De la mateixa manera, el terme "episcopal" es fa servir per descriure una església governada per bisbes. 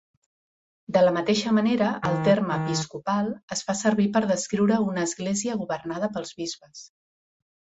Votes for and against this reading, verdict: 1, 2, rejected